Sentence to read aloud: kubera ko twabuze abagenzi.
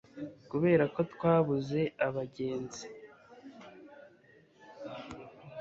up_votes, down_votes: 2, 0